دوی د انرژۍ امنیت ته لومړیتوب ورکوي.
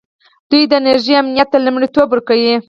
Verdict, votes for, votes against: rejected, 2, 4